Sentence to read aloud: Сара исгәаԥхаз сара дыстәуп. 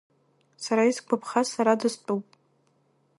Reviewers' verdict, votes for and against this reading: rejected, 1, 2